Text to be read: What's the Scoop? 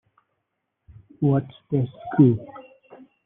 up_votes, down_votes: 0, 2